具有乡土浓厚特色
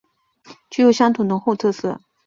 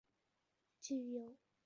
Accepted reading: first